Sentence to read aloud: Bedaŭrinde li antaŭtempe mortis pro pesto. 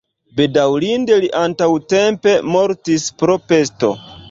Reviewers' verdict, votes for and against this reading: rejected, 1, 2